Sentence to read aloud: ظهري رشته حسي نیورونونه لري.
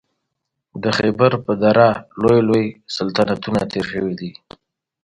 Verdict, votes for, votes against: rejected, 1, 2